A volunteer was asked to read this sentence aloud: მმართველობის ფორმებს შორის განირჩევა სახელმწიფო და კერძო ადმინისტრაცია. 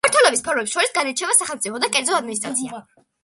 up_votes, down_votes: 1, 2